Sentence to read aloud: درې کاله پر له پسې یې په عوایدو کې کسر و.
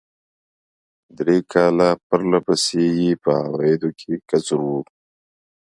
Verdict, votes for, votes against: accepted, 2, 0